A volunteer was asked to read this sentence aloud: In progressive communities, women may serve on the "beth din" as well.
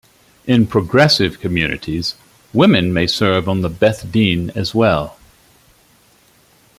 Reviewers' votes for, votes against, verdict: 2, 1, accepted